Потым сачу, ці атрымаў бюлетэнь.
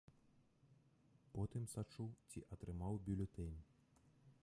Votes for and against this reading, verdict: 1, 2, rejected